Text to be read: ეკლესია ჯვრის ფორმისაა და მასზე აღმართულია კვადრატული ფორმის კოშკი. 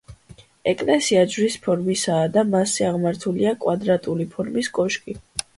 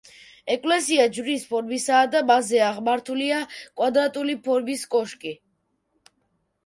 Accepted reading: first